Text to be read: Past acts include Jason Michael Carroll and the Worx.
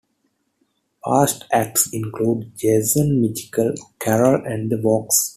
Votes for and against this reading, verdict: 0, 2, rejected